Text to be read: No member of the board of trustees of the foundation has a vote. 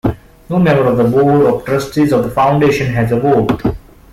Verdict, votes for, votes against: rejected, 1, 2